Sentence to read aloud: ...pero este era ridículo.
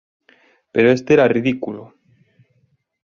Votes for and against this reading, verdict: 3, 0, accepted